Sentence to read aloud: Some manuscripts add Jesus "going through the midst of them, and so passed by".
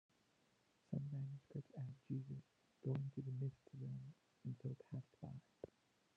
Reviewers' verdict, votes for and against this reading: rejected, 0, 2